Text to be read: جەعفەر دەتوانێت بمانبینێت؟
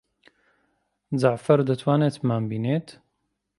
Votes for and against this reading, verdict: 2, 0, accepted